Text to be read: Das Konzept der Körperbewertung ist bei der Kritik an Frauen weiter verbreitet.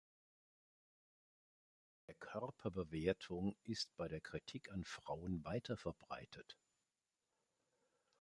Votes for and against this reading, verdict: 1, 2, rejected